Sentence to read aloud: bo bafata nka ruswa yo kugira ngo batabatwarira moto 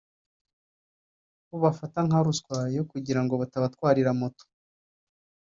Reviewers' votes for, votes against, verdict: 1, 2, rejected